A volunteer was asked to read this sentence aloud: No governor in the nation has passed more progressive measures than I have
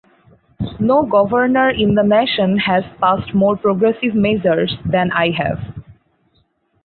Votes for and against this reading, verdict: 0, 4, rejected